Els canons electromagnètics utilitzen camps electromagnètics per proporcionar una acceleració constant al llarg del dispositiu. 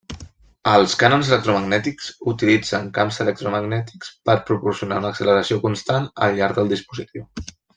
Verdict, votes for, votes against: accepted, 2, 0